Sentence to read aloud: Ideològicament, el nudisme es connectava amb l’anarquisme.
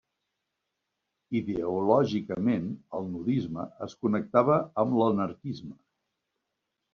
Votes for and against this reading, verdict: 0, 2, rejected